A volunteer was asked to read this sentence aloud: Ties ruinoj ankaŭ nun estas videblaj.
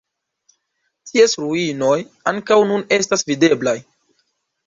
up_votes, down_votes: 2, 1